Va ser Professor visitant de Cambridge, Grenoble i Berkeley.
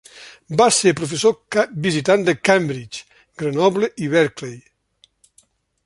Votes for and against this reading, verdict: 0, 2, rejected